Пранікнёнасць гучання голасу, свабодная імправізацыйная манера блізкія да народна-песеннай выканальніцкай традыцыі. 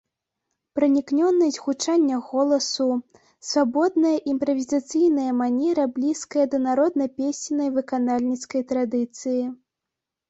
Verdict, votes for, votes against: rejected, 1, 2